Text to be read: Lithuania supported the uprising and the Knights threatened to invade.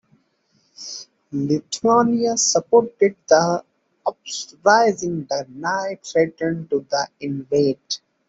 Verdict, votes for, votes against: rejected, 0, 2